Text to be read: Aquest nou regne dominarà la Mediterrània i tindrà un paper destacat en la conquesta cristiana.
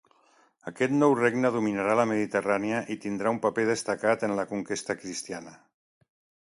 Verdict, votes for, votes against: accepted, 2, 0